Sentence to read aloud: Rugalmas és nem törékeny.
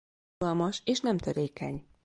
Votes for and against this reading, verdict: 1, 2, rejected